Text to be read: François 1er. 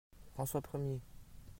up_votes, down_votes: 0, 2